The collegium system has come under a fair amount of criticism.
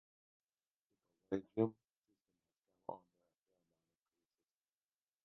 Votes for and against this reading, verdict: 0, 2, rejected